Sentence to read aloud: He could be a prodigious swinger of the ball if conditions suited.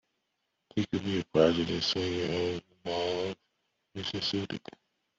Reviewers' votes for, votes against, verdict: 0, 2, rejected